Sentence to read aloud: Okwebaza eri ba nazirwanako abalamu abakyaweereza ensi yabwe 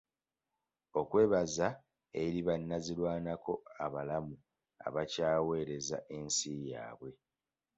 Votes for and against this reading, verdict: 2, 1, accepted